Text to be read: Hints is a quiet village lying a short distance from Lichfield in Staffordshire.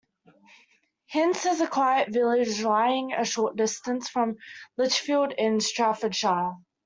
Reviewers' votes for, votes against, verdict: 1, 2, rejected